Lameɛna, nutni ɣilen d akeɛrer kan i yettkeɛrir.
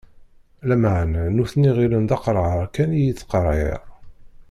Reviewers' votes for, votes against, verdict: 0, 2, rejected